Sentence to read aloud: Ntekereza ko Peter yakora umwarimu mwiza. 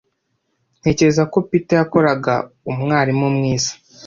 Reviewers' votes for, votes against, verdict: 2, 0, accepted